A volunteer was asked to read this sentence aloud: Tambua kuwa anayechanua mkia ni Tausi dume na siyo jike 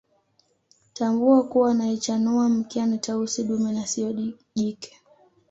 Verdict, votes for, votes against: accepted, 2, 0